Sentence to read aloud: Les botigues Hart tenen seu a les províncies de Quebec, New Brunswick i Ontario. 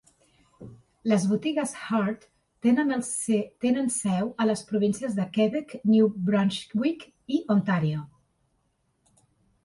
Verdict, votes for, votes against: rejected, 1, 2